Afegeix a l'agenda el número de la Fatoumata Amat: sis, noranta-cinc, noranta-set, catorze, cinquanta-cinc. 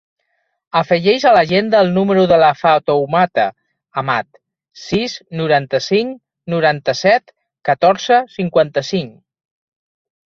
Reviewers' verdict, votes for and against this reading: accepted, 3, 0